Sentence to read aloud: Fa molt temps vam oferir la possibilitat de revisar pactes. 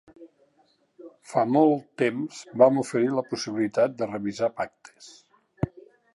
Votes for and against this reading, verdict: 2, 0, accepted